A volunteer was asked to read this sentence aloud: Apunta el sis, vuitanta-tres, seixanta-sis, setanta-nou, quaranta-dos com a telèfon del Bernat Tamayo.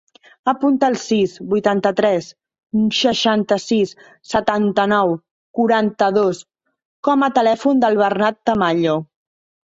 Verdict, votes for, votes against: rejected, 0, 2